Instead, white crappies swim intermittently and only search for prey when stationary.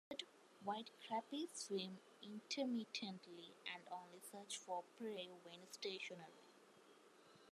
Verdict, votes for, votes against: rejected, 1, 2